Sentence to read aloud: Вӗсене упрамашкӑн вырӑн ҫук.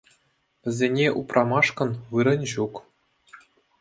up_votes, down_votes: 2, 0